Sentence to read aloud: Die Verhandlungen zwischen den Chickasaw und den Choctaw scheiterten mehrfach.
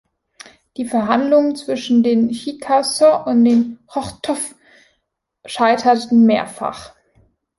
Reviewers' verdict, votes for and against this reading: rejected, 1, 2